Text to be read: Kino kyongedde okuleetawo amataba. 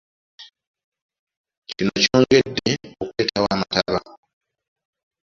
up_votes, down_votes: 1, 2